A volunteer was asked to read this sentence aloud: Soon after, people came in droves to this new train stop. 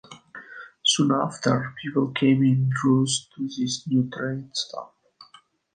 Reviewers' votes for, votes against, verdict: 2, 1, accepted